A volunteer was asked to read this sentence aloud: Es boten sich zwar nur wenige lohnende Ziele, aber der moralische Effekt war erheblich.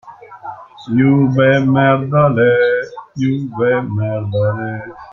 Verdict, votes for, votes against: rejected, 0, 2